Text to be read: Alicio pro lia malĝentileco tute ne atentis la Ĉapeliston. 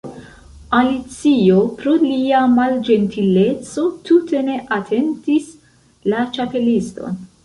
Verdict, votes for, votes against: rejected, 0, 2